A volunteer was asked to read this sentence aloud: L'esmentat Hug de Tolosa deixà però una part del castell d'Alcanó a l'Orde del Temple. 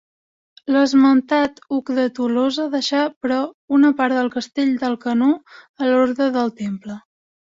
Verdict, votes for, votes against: accepted, 2, 0